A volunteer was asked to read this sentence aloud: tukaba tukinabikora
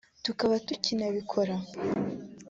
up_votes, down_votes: 3, 0